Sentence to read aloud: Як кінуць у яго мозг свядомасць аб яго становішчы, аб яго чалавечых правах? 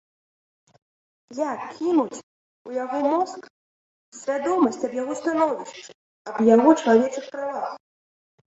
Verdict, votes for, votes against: accepted, 2, 1